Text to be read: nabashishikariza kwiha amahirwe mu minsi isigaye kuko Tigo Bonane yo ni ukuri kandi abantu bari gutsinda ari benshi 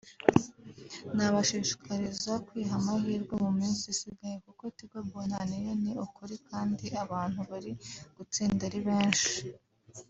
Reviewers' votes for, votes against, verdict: 6, 0, accepted